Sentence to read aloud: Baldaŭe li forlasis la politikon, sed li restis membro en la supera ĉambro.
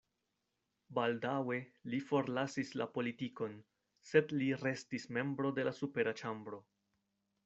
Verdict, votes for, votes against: rejected, 1, 2